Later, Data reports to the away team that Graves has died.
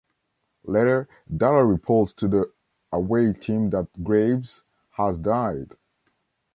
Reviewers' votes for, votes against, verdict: 0, 2, rejected